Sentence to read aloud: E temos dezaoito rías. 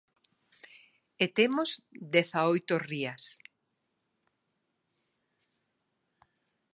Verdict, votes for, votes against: accepted, 2, 0